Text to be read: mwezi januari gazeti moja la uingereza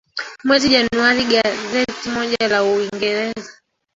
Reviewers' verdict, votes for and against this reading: rejected, 1, 2